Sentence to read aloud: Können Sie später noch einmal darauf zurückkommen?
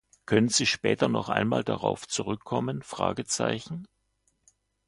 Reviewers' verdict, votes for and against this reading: accepted, 2, 0